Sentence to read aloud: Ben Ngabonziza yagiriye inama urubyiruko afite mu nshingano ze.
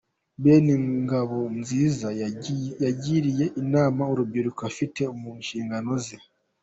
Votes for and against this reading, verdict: 2, 1, accepted